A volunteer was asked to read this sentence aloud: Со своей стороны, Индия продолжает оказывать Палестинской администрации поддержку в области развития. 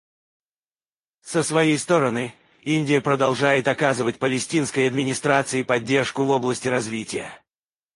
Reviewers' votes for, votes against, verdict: 0, 4, rejected